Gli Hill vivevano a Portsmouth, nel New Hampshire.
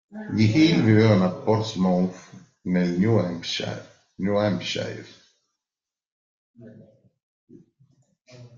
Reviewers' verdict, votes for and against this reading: rejected, 0, 2